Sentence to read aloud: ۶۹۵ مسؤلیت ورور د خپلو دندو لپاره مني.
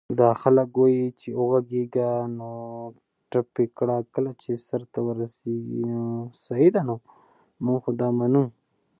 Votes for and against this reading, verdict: 0, 2, rejected